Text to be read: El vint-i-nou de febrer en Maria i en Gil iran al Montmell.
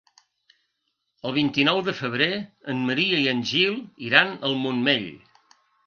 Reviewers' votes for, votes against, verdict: 3, 0, accepted